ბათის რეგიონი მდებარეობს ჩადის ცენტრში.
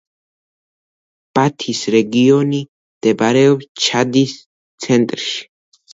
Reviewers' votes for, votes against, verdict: 2, 0, accepted